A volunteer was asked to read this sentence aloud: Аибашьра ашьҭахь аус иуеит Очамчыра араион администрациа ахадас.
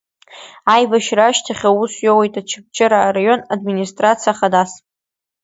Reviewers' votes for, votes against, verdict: 0, 2, rejected